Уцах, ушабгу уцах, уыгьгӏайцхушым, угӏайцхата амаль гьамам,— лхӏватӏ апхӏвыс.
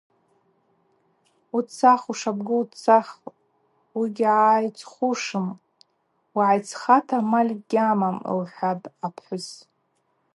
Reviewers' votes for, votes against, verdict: 2, 0, accepted